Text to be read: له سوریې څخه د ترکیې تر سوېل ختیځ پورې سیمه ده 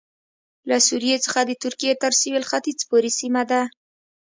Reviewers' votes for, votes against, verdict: 2, 0, accepted